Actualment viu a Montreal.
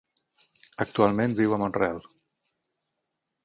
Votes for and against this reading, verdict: 18, 0, accepted